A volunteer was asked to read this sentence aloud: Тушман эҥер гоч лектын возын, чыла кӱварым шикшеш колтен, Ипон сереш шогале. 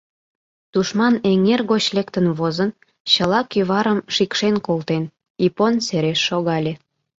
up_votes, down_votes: 1, 2